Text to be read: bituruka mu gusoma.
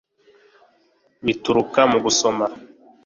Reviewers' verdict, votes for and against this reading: accepted, 2, 0